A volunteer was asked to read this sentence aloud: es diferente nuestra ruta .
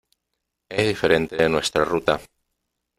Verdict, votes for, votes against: rejected, 0, 2